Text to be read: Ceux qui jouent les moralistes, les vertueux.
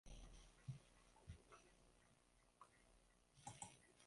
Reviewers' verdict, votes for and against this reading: rejected, 0, 2